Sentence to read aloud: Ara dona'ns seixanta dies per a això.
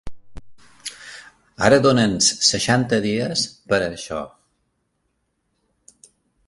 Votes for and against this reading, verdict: 2, 0, accepted